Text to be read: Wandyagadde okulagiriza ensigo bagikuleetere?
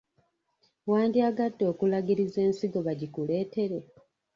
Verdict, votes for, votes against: rejected, 0, 2